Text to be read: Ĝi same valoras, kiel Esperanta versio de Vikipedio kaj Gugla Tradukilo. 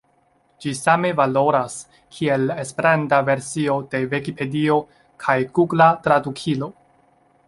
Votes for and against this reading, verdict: 2, 0, accepted